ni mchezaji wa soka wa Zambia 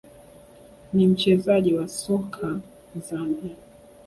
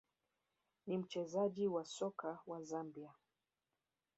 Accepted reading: first